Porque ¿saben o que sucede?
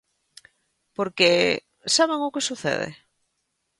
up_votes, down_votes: 2, 0